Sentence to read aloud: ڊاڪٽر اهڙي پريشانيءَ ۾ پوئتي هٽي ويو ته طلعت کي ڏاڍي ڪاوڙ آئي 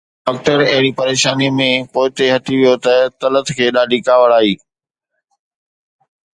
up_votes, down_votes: 2, 0